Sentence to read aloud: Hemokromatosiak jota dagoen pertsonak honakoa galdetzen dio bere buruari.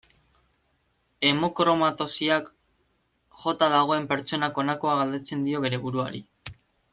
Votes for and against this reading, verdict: 2, 0, accepted